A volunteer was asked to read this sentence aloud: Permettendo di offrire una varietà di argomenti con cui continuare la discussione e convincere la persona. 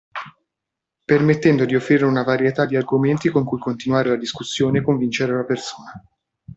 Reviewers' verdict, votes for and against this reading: accepted, 2, 0